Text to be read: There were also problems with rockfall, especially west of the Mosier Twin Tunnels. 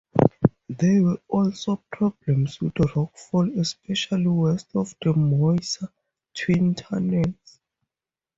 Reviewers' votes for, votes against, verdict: 0, 2, rejected